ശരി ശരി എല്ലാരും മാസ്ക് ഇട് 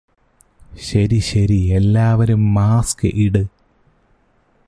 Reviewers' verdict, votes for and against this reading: rejected, 0, 2